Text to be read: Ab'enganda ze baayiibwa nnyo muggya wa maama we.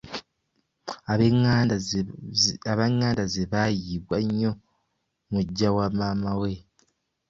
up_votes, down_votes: 0, 2